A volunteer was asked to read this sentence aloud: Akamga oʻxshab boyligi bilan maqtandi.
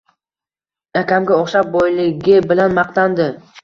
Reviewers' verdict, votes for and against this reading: accepted, 2, 0